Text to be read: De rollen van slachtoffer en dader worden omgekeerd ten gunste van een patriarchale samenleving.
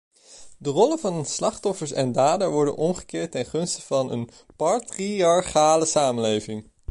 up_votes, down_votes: 1, 2